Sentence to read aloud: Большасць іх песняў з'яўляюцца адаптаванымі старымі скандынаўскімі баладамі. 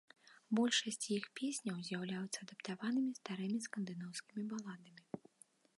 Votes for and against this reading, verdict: 1, 2, rejected